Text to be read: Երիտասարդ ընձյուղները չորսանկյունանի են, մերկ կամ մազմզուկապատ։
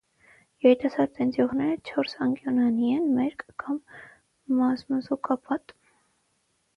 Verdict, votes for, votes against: rejected, 0, 3